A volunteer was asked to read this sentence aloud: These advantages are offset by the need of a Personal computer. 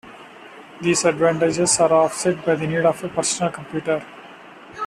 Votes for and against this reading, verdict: 2, 1, accepted